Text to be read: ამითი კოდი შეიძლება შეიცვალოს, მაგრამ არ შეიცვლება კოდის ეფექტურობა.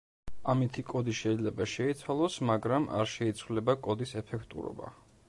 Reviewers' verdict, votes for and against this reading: accepted, 2, 0